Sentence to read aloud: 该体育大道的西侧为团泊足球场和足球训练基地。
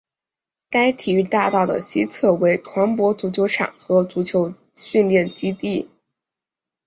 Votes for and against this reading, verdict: 2, 0, accepted